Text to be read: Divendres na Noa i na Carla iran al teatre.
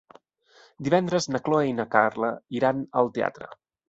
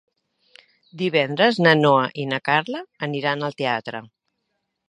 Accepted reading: second